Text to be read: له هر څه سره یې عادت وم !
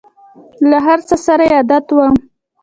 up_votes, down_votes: 2, 0